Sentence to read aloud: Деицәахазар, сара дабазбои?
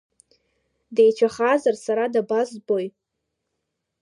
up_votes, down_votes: 2, 0